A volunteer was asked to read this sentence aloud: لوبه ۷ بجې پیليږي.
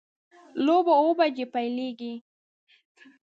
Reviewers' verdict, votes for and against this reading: rejected, 0, 2